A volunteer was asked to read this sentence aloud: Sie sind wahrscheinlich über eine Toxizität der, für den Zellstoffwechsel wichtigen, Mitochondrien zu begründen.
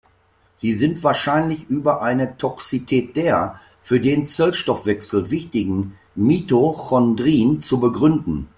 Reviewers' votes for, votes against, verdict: 1, 2, rejected